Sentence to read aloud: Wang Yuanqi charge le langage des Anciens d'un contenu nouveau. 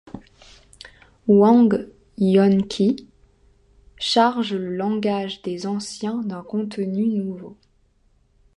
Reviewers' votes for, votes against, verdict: 2, 0, accepted